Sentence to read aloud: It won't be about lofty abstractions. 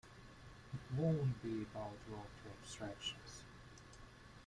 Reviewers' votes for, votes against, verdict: 0, 2, rejected